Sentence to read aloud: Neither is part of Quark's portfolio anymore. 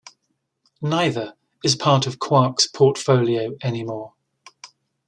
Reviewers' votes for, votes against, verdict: 2, 0, accepted